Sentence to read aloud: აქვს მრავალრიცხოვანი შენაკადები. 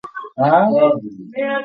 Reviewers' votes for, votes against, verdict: 0, 2, rejected